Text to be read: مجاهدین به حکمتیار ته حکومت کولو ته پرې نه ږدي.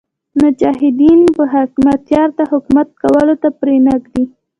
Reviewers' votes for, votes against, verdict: 0, 2, rejected